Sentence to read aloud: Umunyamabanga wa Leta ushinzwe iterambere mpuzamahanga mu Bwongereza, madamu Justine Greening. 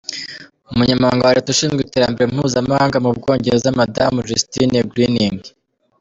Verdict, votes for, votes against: rejected, 1, 2